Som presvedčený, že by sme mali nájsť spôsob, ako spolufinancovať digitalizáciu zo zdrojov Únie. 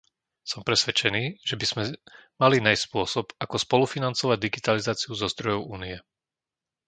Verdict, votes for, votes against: rejected, 1, 2